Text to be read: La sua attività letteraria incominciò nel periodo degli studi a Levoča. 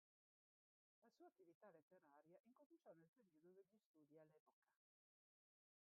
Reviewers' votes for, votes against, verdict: 0, 2, rejected